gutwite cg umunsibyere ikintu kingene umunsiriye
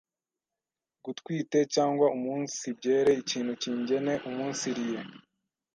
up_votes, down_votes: 1, 2